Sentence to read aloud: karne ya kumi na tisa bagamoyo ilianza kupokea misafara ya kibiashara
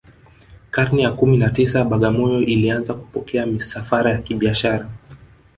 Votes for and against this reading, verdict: 1, 2, rejected